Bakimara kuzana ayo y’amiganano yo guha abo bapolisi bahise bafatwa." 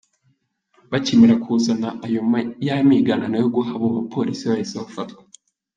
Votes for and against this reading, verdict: 1, 2, rejected